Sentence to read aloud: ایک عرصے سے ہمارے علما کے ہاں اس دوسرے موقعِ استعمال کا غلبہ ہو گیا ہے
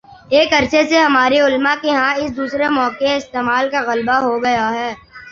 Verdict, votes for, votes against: accepted, 3, 0